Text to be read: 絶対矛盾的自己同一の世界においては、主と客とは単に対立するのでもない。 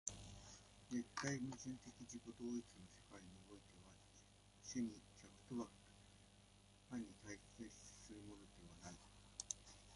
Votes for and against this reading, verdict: 1, 2, rejected